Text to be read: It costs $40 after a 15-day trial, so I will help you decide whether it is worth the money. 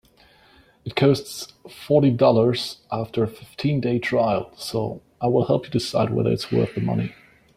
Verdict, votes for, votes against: rejected, 0, 2